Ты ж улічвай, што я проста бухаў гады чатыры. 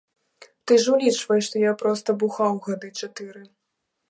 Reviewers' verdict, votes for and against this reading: accepted, 2, 0